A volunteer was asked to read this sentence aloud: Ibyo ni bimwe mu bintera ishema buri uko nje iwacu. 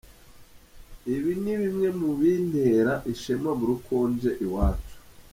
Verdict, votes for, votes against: rejected, 1, 2